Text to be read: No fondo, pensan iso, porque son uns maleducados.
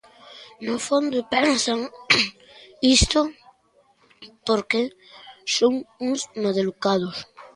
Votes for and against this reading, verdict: 0, 2, rejected